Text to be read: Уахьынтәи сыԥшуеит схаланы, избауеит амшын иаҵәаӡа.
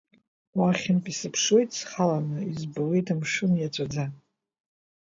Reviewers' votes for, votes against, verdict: 2, 0, accepted